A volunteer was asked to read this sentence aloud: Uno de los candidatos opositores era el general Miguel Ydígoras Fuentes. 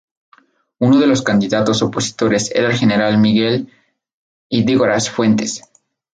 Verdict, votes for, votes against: accepted, 2, 0